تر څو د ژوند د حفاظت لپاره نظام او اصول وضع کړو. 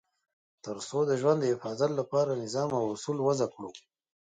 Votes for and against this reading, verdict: 1, 2, rejected